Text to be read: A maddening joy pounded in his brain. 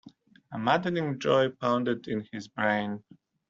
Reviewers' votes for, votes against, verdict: 2, 0, accepted